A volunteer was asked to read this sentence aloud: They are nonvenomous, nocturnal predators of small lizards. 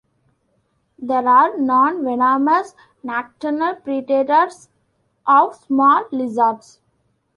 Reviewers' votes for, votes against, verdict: 0, 2, rejected